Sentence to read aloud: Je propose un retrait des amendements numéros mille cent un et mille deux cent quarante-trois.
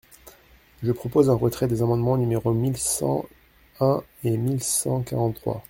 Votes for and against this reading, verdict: 0, 2, rejected